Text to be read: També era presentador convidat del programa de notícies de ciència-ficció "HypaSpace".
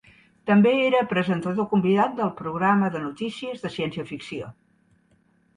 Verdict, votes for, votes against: rejected, 0, 2